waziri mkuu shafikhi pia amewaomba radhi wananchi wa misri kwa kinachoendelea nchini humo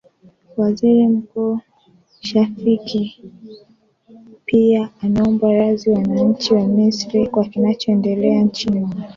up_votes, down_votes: 0, 2